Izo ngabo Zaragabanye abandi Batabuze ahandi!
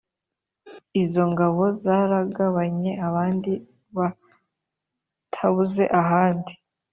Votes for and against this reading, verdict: 2, 0, accepted